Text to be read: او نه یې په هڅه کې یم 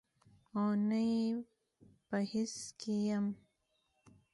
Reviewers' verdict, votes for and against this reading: accepted, 2, 0